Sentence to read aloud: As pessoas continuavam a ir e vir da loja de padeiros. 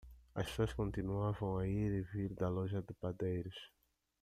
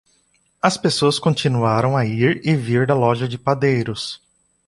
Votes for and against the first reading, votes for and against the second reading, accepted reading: 2, 1, 0, 2, first